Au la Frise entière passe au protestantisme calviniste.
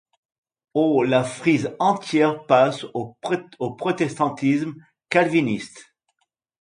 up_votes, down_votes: 0, 2